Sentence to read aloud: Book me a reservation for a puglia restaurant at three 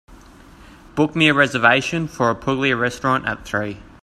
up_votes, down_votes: 2, 0